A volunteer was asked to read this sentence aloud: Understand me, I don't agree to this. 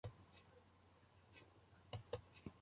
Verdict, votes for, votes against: rejected, 0, 2